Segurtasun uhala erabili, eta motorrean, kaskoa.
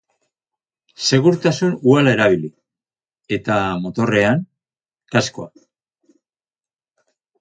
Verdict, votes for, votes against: accepted, 4, 0